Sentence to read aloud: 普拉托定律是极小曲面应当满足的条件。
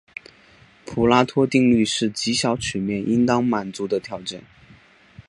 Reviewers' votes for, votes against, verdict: 5, 0, accepted